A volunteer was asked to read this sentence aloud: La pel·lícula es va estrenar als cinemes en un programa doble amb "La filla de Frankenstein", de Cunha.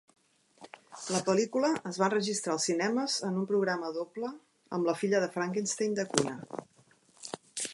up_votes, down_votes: 0, 2